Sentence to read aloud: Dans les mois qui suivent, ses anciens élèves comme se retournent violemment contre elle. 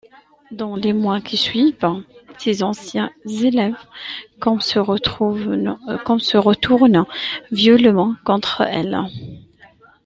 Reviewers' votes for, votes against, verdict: 0, 2, rejected